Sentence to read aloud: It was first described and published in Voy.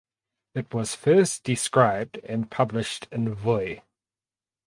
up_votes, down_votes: 4, 0